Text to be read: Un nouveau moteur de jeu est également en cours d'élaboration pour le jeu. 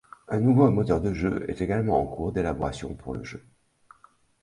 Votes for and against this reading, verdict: 2, 0, accepted